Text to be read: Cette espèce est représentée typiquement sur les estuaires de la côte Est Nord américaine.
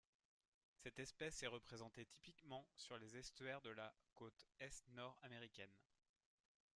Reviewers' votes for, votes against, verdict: 2, 0, accepted